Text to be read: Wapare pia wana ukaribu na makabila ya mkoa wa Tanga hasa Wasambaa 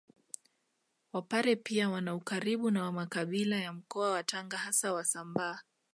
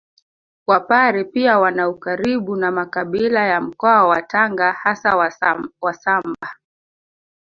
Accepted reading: first